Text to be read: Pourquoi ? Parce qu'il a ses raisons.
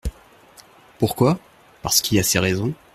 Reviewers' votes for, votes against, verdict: 2, 1, accepted